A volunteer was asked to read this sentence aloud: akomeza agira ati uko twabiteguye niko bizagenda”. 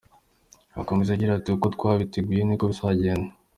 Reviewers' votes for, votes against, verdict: 2, 0, accepted